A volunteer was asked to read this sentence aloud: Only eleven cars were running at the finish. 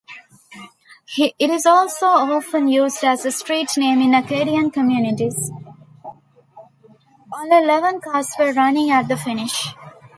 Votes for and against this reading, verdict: 0, 2, rejected